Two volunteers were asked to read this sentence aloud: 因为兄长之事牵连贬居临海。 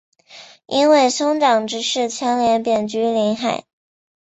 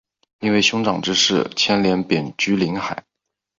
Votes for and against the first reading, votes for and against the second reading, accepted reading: 1, 2, 2, 0, second